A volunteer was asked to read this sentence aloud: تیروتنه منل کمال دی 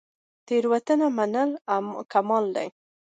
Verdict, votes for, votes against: accepted, 2, 0